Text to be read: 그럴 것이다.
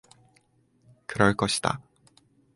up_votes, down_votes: 4, 0